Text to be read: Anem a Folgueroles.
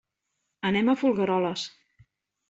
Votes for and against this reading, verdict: 3, 0, accepted